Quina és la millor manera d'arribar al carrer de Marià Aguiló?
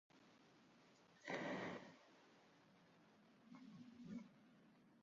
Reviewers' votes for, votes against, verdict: 0, 2, rejected